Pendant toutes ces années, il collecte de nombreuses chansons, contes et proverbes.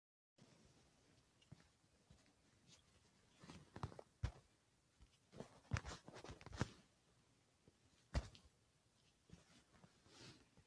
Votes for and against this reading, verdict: 0, 2, rejected